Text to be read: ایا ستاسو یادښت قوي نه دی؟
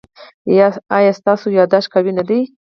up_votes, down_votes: 2, 4